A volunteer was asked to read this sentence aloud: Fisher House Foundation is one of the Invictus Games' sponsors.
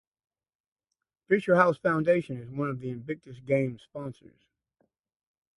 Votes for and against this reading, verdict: 0, 2, rejected